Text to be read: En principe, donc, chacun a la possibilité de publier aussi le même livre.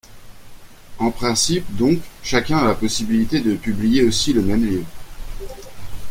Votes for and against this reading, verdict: 2, 0, accepted